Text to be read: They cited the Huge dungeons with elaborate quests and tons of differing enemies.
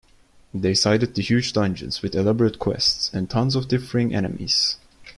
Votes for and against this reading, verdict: 2, 0, accepted